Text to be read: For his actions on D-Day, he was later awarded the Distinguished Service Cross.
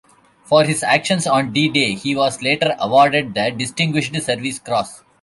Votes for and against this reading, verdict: 1, 2, rejected